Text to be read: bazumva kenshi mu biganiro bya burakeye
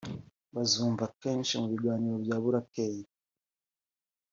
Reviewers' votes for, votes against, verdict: 3, 0, accepted